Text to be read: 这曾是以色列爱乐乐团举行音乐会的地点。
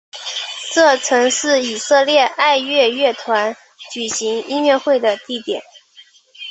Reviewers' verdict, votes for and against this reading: accepted, 3, 0